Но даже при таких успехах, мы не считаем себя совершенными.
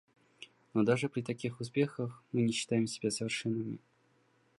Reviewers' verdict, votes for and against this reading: accepted, 2, 0